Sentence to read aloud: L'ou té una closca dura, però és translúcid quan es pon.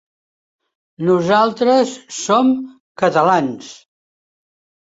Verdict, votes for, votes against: rejected, 0, 2